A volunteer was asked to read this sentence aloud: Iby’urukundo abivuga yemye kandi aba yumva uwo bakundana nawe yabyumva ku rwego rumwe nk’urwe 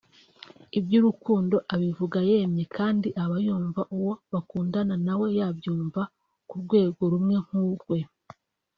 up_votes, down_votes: 2, 0